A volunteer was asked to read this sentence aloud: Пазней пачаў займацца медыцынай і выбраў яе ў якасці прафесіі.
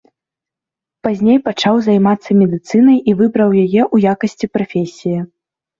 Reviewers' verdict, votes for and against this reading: accepted, 2, 0